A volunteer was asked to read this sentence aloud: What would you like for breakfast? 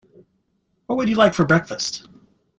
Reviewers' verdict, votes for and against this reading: accepted, 2, 0